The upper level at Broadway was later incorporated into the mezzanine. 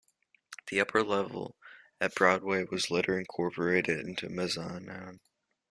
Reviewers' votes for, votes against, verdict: 1, 2, rejected